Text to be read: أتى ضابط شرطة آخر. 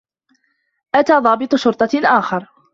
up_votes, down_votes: 2, 0